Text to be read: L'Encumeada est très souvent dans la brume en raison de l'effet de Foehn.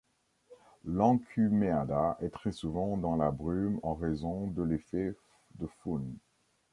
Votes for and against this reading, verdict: 1, 2, rejected